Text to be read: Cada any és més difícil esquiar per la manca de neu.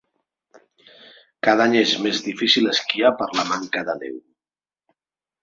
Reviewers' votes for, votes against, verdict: 2, 0, accepted